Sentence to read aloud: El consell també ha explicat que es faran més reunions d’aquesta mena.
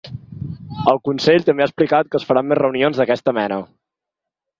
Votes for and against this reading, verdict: 3, 0, accepted